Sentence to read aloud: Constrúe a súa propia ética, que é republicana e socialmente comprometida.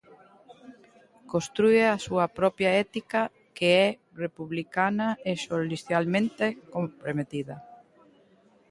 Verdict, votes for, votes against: rejected, 0, 2